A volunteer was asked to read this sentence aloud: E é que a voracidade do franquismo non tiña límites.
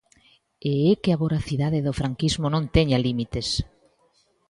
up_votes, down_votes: 0, 2